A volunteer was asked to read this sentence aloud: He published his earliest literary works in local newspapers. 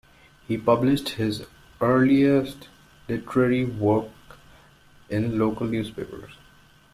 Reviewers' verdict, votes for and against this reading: rejected, 0, 2